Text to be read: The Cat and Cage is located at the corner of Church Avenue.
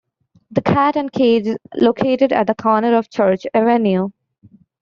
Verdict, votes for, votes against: accepted, 2, 0